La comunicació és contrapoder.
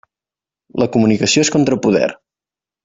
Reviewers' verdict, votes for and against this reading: accepted, 2, 0